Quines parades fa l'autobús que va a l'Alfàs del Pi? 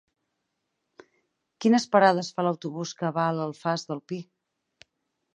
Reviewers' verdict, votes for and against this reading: accepted, 6, 0